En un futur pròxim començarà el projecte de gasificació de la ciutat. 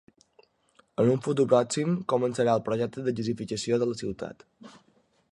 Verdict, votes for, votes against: rejected, 0, 2